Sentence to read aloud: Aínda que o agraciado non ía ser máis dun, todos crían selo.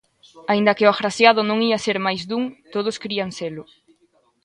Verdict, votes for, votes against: accepted, 2, 0